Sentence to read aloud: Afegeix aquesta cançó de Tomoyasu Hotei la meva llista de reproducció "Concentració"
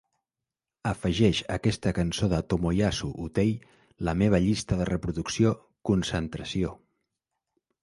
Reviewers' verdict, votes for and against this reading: accepted, 2, 0